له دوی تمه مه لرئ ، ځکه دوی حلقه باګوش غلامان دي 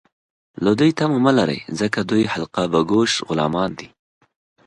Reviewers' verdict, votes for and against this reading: accepted, 3, 0